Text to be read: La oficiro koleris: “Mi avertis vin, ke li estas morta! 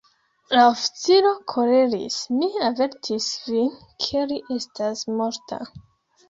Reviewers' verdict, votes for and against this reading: rejected, 0, 2